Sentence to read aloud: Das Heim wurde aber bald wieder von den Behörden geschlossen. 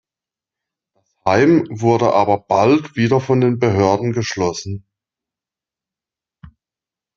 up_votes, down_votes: 0, 2